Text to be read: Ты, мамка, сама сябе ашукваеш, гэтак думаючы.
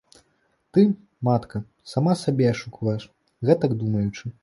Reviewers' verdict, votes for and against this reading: rejected, 1, 2